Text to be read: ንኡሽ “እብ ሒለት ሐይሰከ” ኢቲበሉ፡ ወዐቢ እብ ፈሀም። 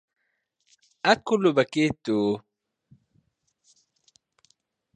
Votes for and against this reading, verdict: 0, 2, rejected